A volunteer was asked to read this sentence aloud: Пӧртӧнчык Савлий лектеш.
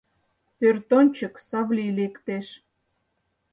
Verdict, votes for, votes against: rejected, 2, 4